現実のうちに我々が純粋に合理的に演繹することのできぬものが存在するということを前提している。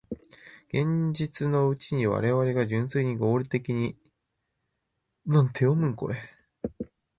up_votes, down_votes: 0, 2